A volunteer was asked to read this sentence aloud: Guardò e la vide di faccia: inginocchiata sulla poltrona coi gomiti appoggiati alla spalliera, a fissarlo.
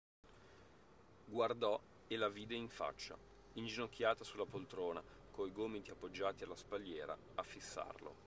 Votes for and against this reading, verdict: 1, 2, rejected